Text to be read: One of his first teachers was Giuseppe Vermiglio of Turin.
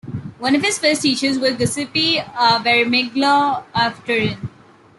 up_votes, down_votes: 0, 2